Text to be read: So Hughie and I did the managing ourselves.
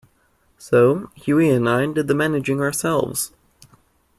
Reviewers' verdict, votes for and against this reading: accepted, 2, 0